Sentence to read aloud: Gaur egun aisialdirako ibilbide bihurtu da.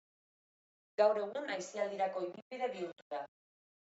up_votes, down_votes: 2, 0